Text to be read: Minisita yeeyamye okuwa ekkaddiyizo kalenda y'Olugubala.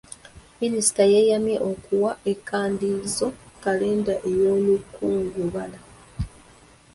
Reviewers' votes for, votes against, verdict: 1, 2, rejected